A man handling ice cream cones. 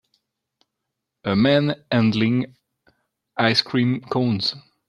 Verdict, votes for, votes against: accepted, 2, 0